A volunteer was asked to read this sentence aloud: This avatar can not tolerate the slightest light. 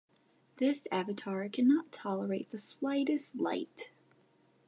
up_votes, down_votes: 2, 0